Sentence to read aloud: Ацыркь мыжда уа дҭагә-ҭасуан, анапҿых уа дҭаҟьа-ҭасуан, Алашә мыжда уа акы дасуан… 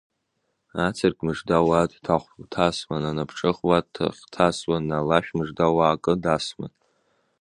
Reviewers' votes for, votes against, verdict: 1, 2, rejected